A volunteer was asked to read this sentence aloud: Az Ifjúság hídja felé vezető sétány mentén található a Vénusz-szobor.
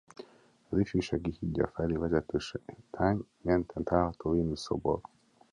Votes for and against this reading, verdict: 1, 2, rejected